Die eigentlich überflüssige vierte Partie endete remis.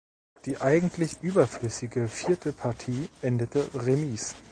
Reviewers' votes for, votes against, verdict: 1, 2, rejected